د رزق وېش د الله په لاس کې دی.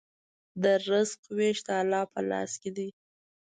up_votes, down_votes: 2, 0